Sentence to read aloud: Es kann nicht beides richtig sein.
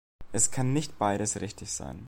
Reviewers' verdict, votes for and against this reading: accepted, 2, 0